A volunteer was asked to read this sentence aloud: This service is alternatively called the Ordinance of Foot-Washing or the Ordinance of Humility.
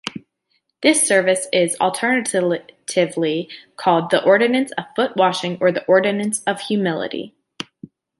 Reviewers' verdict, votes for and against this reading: rejected, 1, 2